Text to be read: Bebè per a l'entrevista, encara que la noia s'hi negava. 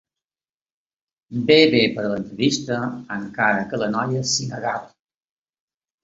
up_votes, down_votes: 0, 2